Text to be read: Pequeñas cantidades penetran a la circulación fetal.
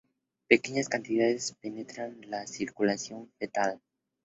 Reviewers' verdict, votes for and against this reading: accepted, 2, 0